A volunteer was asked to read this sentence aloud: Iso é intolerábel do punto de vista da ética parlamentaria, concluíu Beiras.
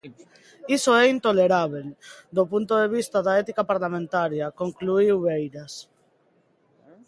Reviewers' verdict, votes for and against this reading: accepted, 2, 0